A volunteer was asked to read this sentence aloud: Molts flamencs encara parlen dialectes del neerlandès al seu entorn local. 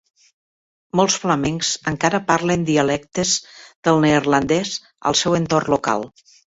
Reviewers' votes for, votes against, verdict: 3, 0, accepted